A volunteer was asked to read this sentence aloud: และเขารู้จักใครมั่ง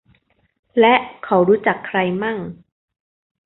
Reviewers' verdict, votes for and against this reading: accepted, 2, 0